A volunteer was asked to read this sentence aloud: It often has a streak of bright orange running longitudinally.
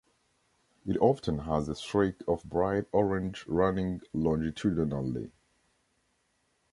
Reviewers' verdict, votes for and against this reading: accepted, 2, 0